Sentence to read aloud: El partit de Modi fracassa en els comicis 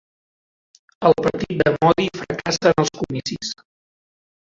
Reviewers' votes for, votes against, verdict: 1, 2, rejected